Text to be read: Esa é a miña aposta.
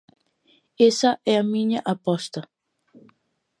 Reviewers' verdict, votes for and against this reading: accepted, 2, 0